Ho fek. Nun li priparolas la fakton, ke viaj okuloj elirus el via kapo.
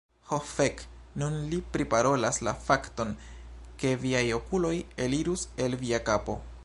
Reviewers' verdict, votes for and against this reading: accepted, 3, 2